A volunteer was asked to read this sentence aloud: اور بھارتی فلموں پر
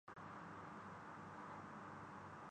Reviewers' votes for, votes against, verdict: 0, 6, rejected